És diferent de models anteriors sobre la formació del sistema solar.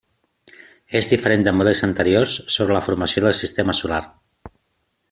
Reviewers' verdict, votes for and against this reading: accepted, 3, 0